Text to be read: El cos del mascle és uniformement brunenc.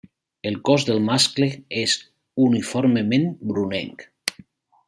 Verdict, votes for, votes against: accepted, 3, 0